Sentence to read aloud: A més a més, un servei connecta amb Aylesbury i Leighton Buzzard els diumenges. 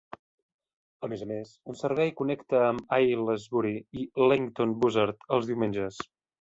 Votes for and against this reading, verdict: 0, 2, rejected